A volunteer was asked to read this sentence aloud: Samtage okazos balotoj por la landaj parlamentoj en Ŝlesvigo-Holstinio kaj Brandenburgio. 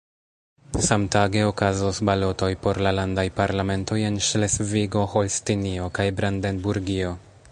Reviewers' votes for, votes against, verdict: 0, 2, rejected